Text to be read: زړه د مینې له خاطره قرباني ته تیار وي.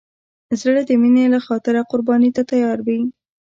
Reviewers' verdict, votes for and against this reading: rejected, 1, 2